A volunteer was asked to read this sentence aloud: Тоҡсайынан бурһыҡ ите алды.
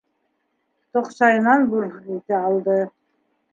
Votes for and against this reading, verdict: 2, 1, accepted